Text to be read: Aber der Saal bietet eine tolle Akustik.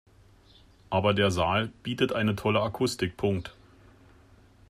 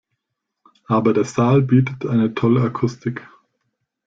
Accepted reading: second